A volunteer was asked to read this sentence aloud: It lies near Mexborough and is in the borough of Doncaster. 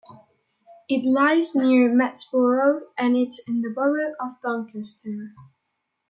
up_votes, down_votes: 1, 2